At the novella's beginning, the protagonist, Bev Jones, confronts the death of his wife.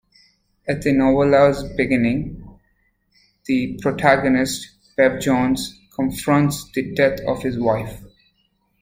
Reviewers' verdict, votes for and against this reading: rejected, 1, 2